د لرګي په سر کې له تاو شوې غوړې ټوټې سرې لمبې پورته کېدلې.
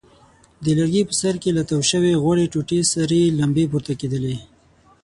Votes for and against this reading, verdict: 6, 0, accepted